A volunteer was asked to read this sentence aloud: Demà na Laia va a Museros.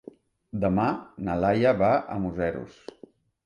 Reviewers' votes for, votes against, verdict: 3, 0, accepted